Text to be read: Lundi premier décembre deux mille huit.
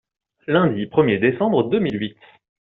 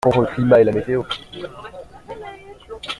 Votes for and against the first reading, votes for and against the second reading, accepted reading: 2, 0, 0, 2, first